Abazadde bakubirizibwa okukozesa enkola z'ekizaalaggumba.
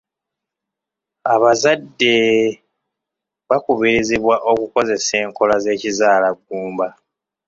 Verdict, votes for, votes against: accepted, 2, 0